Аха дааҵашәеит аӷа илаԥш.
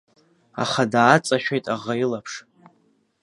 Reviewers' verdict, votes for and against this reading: accepted, 2, 0